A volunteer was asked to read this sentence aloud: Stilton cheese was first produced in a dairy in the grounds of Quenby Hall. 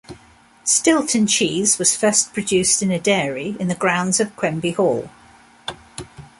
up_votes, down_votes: 2, 0